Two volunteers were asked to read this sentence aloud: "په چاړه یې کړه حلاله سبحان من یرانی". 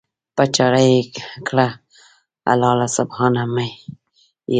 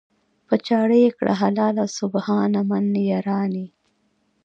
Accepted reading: second